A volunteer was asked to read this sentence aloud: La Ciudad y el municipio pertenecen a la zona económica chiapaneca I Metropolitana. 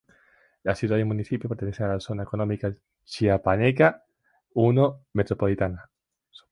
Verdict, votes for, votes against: rejected, 0, 2